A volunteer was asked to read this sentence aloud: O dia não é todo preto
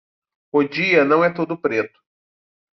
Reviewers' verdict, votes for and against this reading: accepted, 2, 0